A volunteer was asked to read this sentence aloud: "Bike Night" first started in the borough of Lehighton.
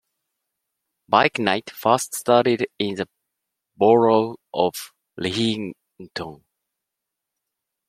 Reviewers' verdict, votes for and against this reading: rejected, 1, 2